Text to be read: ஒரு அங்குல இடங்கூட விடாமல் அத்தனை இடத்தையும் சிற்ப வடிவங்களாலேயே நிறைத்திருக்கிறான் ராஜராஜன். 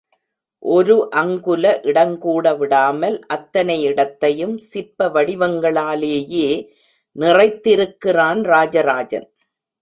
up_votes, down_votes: 2, 1